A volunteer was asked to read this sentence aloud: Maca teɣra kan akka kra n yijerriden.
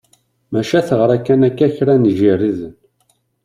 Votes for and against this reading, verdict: 2, 1, accepted